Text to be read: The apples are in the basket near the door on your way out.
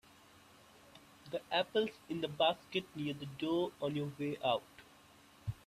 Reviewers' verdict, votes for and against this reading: rejected, 1, 3